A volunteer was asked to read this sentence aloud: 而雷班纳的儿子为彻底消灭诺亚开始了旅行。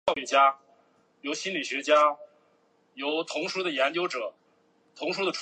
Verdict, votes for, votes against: rejected, 0, 3